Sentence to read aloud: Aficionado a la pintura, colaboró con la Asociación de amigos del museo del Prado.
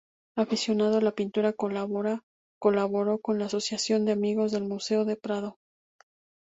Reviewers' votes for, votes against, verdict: 2, 0, accepted